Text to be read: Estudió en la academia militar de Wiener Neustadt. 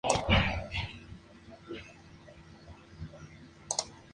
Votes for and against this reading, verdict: 0, 2, rejected